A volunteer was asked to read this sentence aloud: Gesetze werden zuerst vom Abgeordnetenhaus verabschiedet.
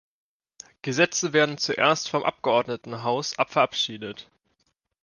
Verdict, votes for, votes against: rejected, 1, 2